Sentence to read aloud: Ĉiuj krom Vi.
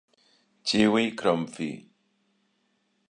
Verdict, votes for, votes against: accepted, 2, 0